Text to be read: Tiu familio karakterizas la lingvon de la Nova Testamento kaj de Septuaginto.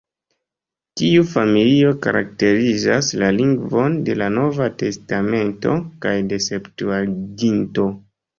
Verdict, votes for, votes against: rejected, 0, 2